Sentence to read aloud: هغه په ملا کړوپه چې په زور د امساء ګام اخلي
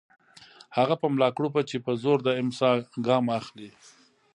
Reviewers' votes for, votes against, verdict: 0, 2, rejected